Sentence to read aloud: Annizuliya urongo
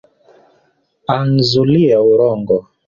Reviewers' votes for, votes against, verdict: 1, 2, rejected